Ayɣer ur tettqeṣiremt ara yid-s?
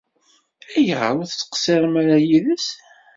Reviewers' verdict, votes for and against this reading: rejected, 1, 2